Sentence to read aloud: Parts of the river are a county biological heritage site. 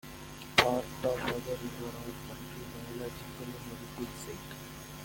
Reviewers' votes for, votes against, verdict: 0, 2, rejected